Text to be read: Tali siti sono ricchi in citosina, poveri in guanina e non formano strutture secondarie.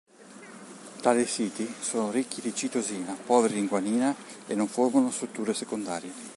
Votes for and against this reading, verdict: 1, 2, rejected